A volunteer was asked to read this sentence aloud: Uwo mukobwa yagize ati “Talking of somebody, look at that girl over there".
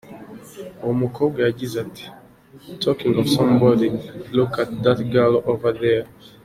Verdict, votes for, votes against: accepted, 2, 1